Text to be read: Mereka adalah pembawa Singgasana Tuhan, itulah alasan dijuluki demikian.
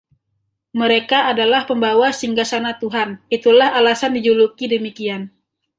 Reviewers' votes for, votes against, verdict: 1, 2, rejected